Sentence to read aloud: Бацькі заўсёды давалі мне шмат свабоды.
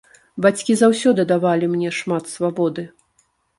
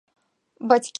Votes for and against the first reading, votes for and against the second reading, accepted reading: 2, 0, 0, 2, first